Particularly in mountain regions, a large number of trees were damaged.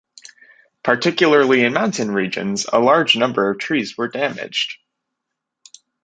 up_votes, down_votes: 2, 0